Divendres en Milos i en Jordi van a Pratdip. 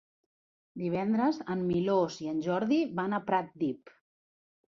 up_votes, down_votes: 1, 2